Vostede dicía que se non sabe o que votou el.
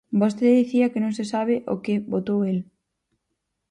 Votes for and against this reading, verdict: 4, 0, accepted